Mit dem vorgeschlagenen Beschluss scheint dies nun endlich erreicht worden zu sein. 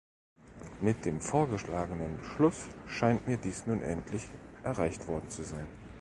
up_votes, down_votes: 1, 3